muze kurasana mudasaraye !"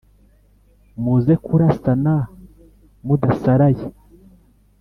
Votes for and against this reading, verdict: 3, 0, accepted